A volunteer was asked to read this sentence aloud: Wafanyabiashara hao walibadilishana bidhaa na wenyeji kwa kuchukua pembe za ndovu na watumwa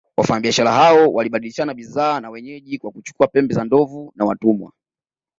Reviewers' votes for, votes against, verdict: 2, 0, accepted